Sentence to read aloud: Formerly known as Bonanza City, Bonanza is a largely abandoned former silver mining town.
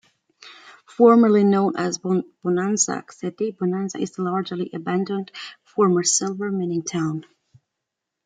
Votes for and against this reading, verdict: 1, 2, rejected